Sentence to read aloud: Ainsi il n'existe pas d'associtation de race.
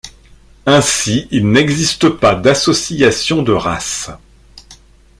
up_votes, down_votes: 1, 2